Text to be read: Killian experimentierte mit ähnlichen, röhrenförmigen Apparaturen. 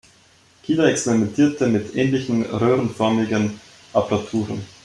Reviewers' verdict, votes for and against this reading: rejected, 1, 2